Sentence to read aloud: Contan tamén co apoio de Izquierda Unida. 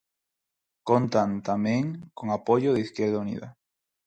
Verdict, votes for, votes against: rejected, 0, 4